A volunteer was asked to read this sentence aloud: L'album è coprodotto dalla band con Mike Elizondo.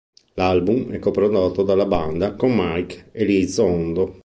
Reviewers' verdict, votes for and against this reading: rejected, 2, 3